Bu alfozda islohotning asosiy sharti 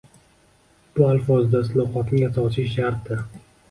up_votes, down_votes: 1, 2